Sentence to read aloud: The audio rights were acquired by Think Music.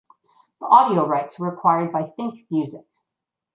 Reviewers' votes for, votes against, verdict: 2, 0, accepted